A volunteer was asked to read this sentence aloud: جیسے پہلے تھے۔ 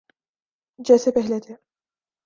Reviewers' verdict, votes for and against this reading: accepted, 2, 0